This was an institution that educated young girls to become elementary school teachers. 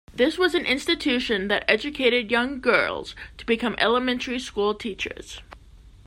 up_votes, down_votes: 2, 0